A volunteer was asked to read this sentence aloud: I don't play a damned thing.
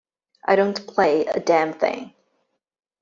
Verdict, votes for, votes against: accepted, 2, 0